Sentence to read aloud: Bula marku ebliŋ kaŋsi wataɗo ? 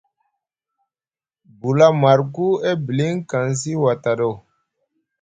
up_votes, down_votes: 0, 2